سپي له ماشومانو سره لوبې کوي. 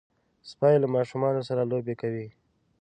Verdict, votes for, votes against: accepted, 2, 0